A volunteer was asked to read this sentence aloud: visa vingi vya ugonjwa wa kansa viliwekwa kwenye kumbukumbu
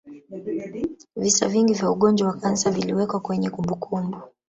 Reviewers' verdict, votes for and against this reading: rejected, 0, 2